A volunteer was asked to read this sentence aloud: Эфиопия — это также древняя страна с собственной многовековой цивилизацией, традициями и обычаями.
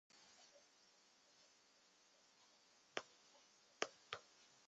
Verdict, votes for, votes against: rejected, 0, 2